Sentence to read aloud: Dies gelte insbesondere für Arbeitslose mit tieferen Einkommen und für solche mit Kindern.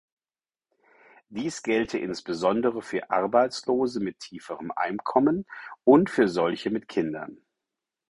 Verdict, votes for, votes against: accepted, 6, 0